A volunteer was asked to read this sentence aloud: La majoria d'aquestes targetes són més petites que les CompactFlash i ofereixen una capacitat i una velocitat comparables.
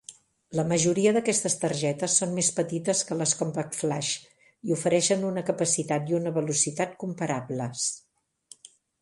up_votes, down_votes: 2, 0